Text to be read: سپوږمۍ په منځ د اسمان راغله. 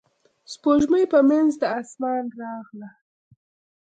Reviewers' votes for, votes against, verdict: 2, 0, accepted